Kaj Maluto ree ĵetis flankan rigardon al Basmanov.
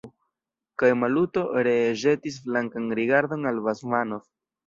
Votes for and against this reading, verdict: 2, 1, accepted